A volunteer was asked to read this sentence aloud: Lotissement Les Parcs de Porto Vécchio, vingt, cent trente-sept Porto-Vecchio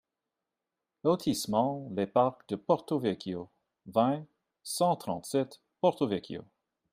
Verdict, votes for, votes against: accepted, 2, 0